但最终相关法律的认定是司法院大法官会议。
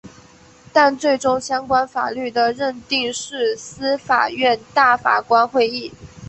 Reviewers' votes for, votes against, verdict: 3, 1, accepted